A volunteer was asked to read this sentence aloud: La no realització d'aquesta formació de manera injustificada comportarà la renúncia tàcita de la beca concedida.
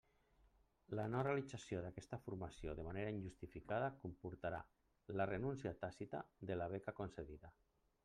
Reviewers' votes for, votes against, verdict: 3, 0, accepted